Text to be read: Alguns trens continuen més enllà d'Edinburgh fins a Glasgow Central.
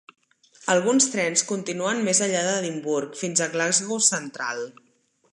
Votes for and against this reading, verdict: 4, 1, accepted